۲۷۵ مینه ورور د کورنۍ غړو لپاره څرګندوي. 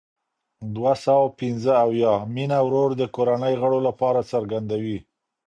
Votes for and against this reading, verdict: 0, 2, rejected